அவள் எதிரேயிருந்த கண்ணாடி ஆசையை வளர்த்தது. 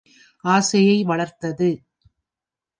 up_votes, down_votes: 1, 2